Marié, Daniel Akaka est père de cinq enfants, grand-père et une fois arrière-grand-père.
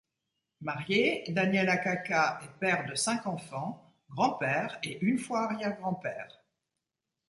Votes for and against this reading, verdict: 2, 0, accepted